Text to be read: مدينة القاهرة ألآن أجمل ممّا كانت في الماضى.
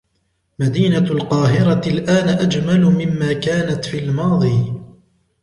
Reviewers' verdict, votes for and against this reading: accepted, 2, 0